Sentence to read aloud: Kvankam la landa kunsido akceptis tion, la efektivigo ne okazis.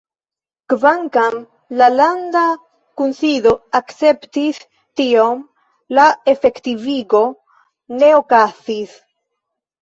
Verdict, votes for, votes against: rejected, 1, 3